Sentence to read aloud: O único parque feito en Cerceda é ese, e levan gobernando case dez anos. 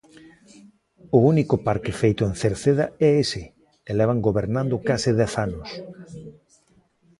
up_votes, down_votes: 1, 2